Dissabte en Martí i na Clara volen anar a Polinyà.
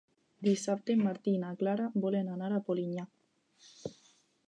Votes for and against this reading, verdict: 2, 0, accepted